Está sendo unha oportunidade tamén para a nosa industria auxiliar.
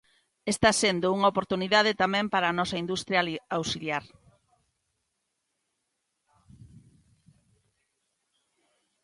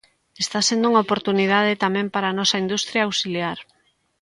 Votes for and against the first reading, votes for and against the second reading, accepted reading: 0, 2, 2, 0, second